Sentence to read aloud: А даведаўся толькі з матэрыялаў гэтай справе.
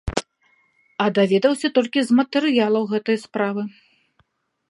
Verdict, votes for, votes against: rejected, 0, 2